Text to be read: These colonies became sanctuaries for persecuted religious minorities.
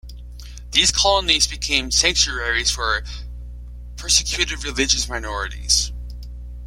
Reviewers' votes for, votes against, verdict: 2, 0, accepted